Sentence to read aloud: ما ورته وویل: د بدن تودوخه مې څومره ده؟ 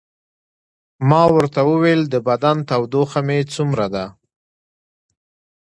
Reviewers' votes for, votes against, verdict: 2, 0, accepted